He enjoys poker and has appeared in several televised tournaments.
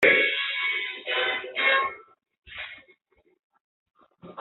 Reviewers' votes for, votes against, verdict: 0, 2, rejected